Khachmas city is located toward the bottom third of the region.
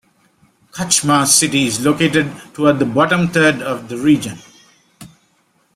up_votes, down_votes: 2, 0